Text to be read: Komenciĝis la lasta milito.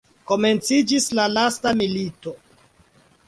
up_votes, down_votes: 2, 0